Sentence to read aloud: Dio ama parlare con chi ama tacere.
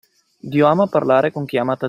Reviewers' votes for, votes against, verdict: 0, 2, rejected